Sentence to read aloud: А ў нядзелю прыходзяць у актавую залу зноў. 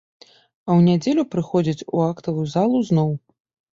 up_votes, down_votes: 2, 0